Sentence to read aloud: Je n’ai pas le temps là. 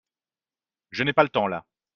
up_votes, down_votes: 3, 0